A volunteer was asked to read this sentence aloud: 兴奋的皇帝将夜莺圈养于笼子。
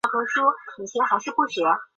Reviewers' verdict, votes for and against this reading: rejected, 0, 4